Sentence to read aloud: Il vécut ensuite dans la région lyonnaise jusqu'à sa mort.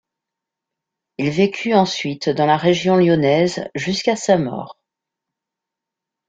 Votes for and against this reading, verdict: 2, 0, accepted